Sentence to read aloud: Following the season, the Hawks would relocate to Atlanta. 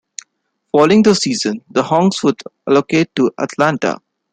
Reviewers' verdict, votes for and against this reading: rejected, 0, 2